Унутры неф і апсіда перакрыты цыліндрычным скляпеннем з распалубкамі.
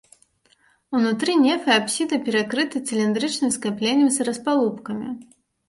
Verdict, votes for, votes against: rejected, 0, 2